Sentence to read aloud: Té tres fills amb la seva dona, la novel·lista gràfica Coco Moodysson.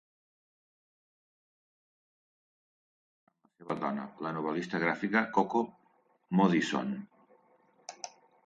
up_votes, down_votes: 3, 4